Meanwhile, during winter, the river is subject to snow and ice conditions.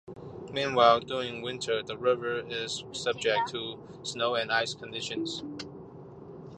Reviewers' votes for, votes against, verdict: 2, 0, accepted